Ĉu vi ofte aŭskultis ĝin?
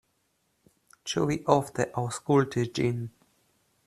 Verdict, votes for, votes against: accepted, 2, 1